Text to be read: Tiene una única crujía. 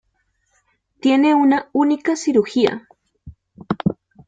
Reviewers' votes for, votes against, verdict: 0, 2, rejected